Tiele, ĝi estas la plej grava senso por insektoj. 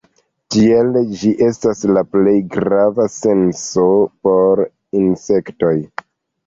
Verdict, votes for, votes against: rejected, 0, 2